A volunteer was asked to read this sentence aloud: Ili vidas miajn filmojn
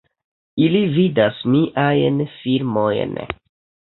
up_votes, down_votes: 2, 0